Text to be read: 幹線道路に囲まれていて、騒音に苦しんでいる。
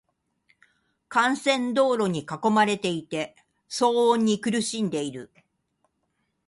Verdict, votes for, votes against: accepted, 4, 1